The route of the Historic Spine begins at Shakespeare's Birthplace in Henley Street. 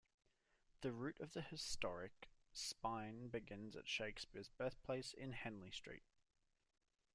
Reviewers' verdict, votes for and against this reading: accepted, 2, 0